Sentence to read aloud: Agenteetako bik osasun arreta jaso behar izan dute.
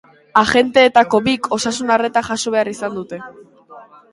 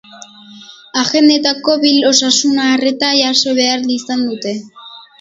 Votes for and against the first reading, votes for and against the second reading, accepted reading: 4, 0, 0, 2, first